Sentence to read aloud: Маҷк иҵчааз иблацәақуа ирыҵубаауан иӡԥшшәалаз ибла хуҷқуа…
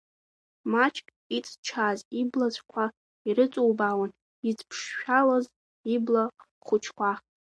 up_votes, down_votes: 2, 1